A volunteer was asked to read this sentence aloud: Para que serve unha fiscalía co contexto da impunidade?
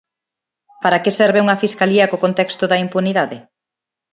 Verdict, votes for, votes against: accepted, 2, 0